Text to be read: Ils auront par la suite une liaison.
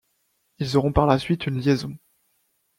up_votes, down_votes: 2, 0